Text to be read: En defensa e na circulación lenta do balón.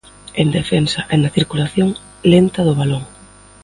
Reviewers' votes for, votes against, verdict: 2, 1, accepted